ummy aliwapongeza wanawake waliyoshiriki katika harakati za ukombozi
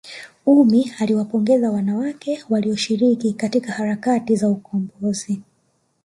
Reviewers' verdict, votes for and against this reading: rejected, 0, 2